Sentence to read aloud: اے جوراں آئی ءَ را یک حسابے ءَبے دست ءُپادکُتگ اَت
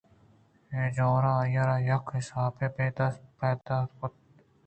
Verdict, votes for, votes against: accepted, 2, 0